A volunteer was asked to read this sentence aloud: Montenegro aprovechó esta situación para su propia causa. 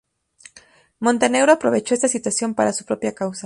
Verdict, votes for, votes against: accepted, 2, 0